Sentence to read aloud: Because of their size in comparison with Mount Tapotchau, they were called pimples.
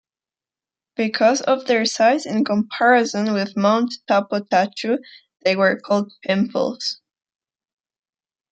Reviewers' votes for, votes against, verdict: 2, 0, accepted